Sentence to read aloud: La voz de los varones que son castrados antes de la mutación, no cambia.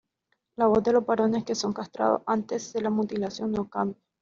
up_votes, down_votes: 1, 2